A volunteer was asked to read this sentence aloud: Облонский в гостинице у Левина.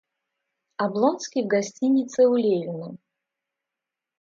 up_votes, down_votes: 2, 0